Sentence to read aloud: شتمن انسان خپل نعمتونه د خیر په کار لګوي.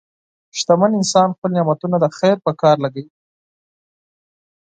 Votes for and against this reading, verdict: 4, 0, accepted